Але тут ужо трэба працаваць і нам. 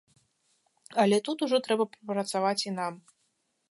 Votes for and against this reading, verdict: 1, 2, rejected